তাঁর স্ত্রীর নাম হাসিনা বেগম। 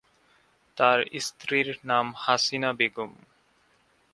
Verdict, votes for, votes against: accepted, 2, 0